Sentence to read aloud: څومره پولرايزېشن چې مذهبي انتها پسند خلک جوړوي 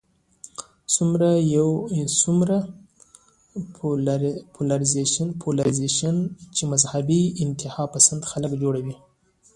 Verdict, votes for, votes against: accepted, 2, 1